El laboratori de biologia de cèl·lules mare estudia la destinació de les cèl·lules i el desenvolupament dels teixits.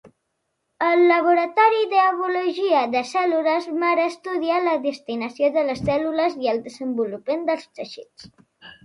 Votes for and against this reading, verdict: 0, 2, rejected